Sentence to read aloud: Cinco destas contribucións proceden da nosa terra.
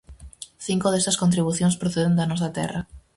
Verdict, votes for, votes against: rejected, 2, 2